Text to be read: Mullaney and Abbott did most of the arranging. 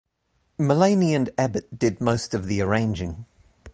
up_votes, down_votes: 2, 0